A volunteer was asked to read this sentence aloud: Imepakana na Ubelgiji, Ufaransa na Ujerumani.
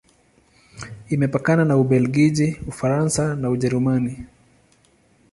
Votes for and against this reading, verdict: 20, 4, accepted